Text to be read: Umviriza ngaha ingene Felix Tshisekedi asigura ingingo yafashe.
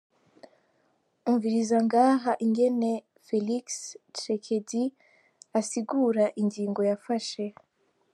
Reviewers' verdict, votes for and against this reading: accepted, 2, 0